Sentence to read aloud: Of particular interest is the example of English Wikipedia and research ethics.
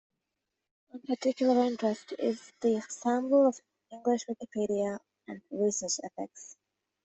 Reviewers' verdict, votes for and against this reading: rejected, 1, 2